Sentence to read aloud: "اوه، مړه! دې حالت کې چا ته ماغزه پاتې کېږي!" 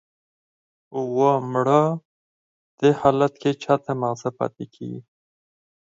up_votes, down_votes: 0, 4